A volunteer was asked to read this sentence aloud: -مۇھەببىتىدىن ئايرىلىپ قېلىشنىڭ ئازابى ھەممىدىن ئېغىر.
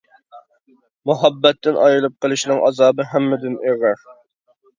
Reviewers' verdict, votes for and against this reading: rejected, 0, 2